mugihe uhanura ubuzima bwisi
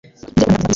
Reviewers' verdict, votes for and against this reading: rejected, 1, 2